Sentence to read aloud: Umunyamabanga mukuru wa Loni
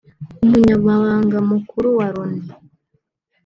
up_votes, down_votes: 2, 0